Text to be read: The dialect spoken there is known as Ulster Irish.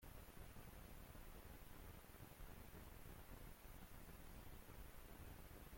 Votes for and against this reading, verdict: 0, 2, rejected